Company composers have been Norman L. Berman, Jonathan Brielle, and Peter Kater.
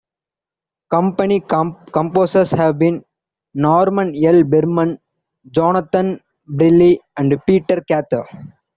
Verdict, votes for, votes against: rejected, 1, 2